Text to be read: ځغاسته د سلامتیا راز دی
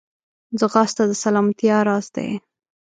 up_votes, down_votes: 3, 0